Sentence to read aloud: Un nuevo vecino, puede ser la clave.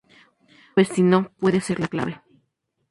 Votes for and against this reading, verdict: 0, 2, rejected